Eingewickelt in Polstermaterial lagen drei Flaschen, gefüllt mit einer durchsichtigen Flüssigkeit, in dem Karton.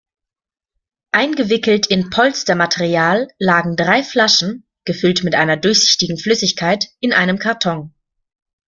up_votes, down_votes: 0, 2